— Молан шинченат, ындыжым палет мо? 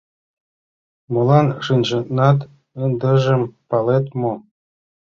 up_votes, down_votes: 1, 2